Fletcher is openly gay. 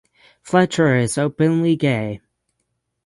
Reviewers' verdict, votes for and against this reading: accepted, 6, 0